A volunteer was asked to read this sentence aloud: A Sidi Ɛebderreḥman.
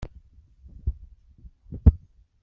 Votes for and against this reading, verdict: 0, 2, rejected